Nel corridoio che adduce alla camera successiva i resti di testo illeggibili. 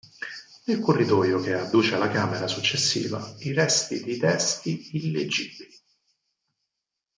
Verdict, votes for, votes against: rejected, 0, 4